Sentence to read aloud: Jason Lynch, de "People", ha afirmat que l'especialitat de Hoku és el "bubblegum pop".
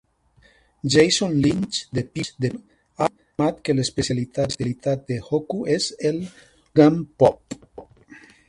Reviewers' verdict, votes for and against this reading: rejected, 0, 2